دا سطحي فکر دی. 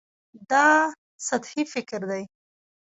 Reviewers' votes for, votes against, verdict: 0, 2, rejected